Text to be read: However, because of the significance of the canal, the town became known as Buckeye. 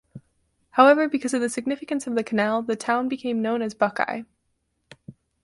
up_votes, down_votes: 4, 0